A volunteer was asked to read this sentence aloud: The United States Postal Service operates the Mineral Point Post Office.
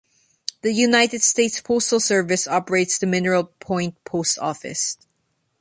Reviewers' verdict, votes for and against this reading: accepted, 2, 0